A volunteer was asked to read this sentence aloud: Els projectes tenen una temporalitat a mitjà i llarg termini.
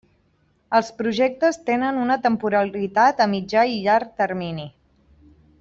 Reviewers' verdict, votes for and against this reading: accepted, 2, 0